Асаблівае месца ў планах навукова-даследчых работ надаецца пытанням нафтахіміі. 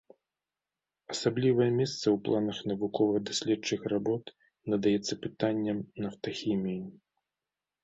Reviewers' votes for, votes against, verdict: 2, 0, accepted